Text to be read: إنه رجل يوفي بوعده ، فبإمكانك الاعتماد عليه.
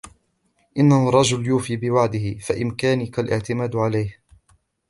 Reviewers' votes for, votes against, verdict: 2, 0, accepted